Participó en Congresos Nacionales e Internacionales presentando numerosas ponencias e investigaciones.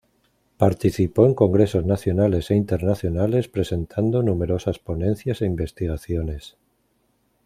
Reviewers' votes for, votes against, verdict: 2, 0, accepted